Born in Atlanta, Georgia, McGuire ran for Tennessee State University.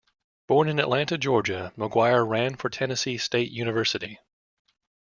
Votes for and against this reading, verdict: 2, 0, accepted